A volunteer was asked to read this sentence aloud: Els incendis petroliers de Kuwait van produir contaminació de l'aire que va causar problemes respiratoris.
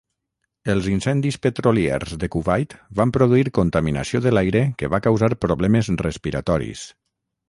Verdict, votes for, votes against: accepted, 6, 0